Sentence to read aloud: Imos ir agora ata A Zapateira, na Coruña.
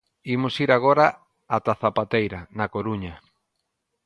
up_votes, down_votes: 2, 0